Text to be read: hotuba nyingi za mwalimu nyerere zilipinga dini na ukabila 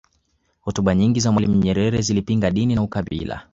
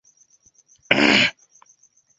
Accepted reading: first